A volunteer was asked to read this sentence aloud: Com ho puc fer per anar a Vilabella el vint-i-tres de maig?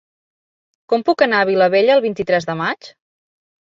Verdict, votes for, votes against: rejected, 0, 2